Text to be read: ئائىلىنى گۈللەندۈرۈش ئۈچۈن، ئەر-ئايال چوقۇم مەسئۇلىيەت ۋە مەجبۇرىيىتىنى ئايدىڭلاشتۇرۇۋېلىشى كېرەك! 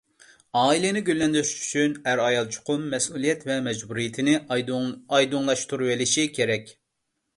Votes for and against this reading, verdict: 1, 2, rejected